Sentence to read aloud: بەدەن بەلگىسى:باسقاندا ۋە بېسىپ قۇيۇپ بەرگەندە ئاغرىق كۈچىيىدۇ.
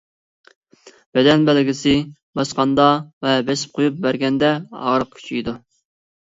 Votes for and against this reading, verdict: 2, 0, accepted